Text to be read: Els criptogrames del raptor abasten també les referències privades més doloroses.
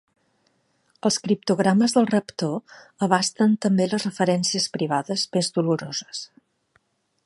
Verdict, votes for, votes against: accepted, 2, 0